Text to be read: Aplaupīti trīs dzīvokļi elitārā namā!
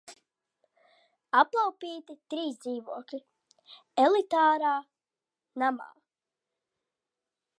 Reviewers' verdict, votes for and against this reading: accepted, 2, 0